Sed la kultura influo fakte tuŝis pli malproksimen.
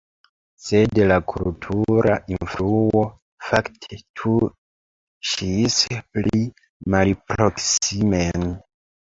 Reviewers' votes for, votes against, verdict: 0, 2, rejected